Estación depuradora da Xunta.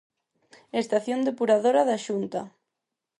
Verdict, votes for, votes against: accepted, 4, 0